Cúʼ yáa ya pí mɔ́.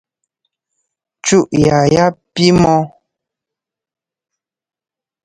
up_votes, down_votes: 1, 2